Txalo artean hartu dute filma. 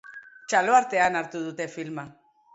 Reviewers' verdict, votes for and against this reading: accepted, 4, 0